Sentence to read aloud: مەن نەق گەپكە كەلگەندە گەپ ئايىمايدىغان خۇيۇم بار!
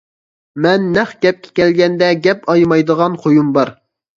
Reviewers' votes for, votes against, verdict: 2, 0, accepted